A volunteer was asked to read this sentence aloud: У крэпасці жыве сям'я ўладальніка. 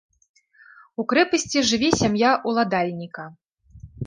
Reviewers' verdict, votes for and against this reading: rejected, 1, 2